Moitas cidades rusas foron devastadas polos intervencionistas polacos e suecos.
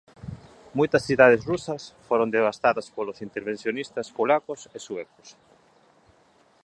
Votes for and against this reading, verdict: 2, 0, accepted